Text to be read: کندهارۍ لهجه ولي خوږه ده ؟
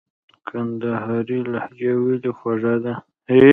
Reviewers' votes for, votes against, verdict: 0, 2, rejected